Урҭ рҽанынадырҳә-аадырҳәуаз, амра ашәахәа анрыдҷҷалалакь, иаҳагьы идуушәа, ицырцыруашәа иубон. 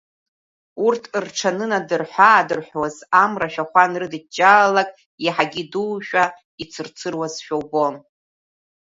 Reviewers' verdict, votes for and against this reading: rejected, 1, 2